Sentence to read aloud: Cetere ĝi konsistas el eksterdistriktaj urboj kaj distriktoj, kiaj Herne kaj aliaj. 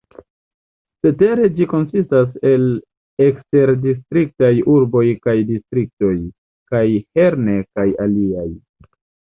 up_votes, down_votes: 1, 2